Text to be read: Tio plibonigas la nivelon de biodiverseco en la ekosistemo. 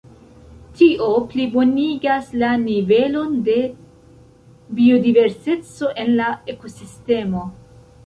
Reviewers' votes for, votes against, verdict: 1, 2, rejected